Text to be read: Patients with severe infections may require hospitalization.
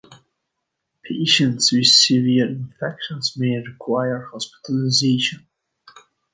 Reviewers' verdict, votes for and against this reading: accepted, 2, 1